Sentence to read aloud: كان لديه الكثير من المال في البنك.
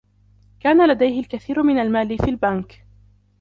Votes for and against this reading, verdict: 0, 2, rejected